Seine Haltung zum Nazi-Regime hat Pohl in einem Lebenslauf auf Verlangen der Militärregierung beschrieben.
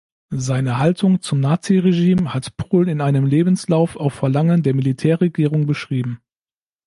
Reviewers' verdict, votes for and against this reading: accepted, 2, 0